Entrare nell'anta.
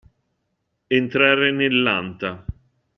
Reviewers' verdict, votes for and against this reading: accepted, 2, 0